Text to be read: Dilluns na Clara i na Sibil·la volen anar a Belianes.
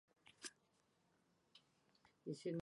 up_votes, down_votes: 0, 4